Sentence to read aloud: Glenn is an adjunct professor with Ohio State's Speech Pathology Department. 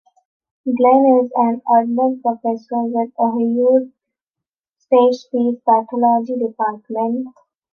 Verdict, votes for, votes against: rejected, 0, 3